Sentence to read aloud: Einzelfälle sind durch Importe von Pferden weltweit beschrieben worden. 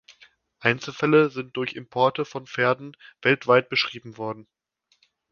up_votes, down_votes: 2, 0